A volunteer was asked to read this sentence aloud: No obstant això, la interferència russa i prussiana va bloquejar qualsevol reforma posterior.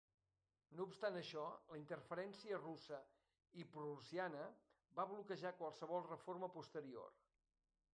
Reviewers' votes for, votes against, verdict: 0, 2, rejected